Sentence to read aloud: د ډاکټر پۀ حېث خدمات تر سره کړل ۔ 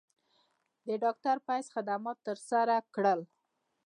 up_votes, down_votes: 1, 2